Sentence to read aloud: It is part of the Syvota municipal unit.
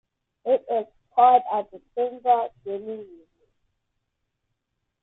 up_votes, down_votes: 0, 2